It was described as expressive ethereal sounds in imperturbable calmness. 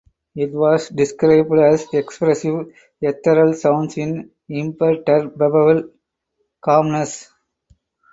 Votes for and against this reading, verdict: 0, 4, rejected